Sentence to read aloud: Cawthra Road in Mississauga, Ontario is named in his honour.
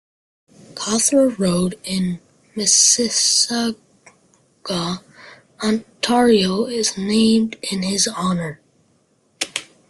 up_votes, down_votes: 0, 2